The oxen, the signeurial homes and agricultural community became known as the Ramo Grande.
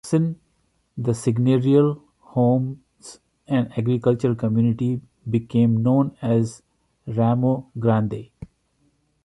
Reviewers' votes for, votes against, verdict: 1, 2, rejected